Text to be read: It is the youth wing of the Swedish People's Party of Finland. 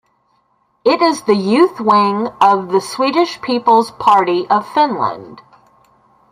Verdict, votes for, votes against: accepted, 2, 1